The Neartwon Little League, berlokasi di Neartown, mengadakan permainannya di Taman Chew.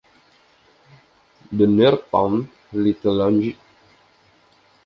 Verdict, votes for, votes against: rejected, 0, 2